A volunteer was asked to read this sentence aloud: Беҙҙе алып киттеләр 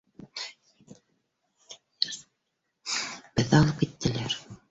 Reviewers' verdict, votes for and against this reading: rejected, 0, 2